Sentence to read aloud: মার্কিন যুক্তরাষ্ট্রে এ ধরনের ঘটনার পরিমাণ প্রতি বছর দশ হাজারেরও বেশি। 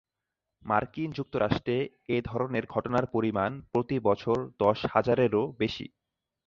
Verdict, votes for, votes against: accepted, 2, 0